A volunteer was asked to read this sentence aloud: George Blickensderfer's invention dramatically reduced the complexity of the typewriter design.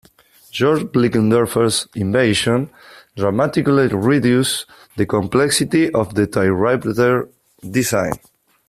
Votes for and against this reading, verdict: 1, 3, rejected